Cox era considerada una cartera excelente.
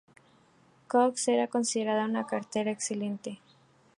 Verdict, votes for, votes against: accepted, 2, 0